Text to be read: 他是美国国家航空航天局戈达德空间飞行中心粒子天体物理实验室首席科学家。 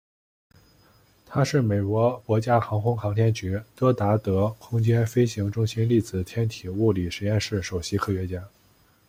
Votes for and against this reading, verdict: 2, 1, accepted